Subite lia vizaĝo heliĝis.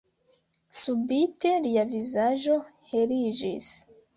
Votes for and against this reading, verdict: 2, 0, accepted